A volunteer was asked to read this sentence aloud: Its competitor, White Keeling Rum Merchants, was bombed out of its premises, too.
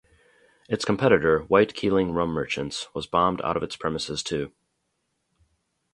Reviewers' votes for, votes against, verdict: 0, 2, rejected